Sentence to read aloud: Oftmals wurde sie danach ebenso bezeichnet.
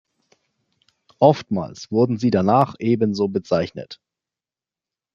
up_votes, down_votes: 1, 2